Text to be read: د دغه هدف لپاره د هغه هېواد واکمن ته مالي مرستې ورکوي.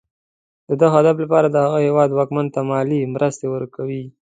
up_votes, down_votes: 2, 0